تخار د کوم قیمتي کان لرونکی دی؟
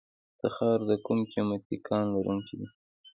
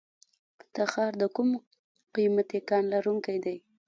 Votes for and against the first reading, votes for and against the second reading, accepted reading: 2, 0, 1, 2, first